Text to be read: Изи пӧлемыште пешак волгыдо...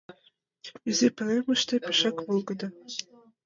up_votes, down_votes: 2, 1